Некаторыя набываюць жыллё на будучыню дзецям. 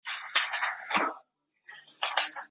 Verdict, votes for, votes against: rejected, 0, 2